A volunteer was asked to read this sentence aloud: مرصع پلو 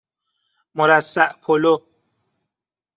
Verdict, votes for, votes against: accepted, 2, 0